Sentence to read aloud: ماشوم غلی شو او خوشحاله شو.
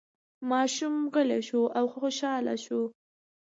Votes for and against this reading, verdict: 2, 0, accepted